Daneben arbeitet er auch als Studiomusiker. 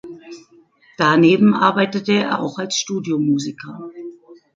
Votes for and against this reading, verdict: 2, 0, accepted